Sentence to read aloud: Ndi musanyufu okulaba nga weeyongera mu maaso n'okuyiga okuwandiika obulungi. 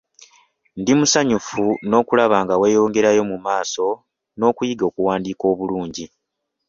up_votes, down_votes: 0, 2